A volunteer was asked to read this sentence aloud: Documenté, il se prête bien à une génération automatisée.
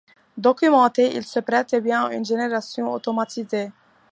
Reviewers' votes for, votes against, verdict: 2, 0, accepted